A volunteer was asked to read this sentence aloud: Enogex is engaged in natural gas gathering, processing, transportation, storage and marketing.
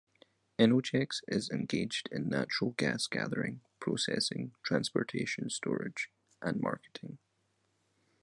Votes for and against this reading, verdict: 2, 0, accepted